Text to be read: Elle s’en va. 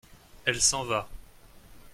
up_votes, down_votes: 2, 0